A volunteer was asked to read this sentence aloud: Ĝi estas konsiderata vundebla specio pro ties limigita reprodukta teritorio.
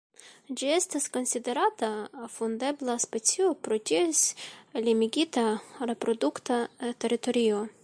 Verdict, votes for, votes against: rejected, 1, 2